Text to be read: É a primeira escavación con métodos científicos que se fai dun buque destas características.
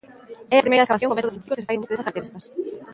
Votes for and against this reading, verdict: 0, 2, rejected